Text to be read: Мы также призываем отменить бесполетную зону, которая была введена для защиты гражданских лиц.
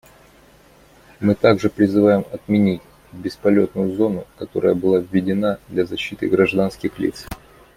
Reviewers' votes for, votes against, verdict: 2, 0, accepted